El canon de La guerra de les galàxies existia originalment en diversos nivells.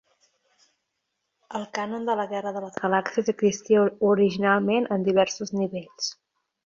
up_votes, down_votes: 0, 2